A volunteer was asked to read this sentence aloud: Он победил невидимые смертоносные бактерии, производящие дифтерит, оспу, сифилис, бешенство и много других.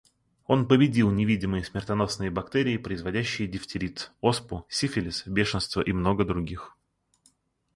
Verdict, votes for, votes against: accepted, 2, 0